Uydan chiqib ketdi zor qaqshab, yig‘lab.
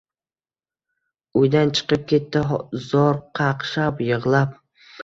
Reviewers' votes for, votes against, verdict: 2, 0, accepted